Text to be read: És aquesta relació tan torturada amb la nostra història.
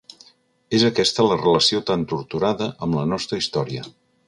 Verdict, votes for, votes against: rejected, 0, 2